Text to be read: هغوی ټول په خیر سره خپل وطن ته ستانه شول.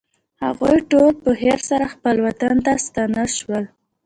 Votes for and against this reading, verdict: 2, 0, accepted